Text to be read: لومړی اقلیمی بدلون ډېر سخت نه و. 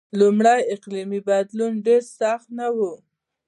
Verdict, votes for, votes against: accepted, 2, 0